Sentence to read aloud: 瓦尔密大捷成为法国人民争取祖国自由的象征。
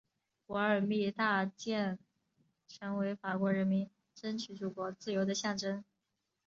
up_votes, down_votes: 0, 2